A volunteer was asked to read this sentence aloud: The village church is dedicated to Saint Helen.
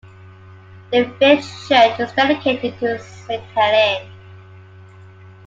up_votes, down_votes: 2, 0